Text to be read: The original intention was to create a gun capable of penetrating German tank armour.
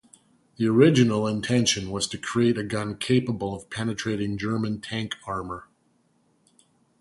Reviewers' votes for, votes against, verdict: 2, 0, accepted